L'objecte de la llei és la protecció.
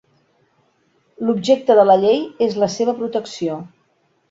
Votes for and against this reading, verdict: 0, 2, rejected